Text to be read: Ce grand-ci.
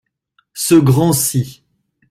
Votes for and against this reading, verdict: 2, 0, accepted